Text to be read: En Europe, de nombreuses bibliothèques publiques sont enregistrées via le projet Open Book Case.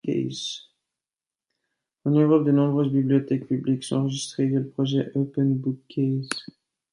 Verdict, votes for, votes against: rejected, 0, 2